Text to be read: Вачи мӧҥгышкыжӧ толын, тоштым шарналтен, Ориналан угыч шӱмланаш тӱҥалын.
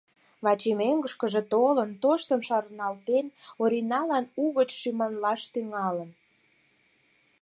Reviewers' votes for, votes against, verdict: 2, 4, rejected